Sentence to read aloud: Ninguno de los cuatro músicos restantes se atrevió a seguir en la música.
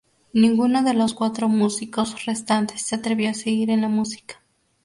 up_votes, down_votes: 2, 0